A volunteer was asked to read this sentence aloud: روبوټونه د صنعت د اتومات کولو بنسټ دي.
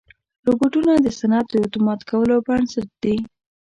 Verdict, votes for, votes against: accepted, 2, 0